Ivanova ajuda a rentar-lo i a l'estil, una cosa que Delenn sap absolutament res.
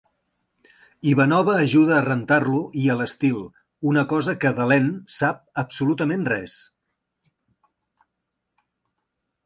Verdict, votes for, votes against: accepted, 2, 0